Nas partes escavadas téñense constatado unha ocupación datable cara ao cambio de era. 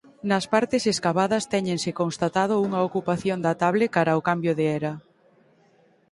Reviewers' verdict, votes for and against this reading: accepted, 2, 0